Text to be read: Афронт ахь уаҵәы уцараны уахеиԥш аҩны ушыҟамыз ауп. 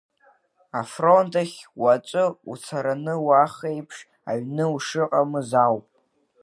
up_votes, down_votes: 1, 2